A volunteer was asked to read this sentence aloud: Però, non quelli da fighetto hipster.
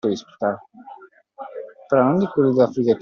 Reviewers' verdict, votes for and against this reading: rejected, 0, 2